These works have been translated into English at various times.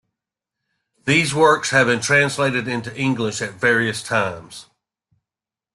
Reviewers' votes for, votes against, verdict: 2, 0, accepted